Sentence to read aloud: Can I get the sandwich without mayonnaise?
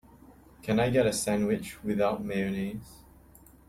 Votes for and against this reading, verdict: 1, 2, rejected